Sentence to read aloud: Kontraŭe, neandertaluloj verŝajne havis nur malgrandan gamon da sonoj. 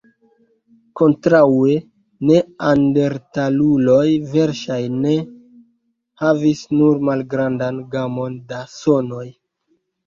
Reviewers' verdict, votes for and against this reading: rejected, 0, 2